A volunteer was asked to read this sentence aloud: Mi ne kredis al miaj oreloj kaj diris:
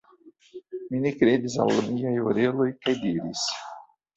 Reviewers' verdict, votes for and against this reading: rejected, 0, 2